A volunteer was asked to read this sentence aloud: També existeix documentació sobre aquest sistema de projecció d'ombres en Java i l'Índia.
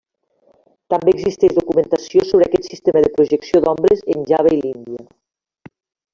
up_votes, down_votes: 2, 0